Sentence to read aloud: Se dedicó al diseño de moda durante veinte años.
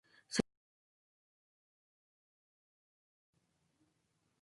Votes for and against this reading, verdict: 0, 2, rejected